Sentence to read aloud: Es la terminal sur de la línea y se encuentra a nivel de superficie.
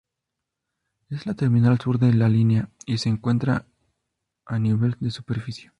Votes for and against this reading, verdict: 2, 0, accepted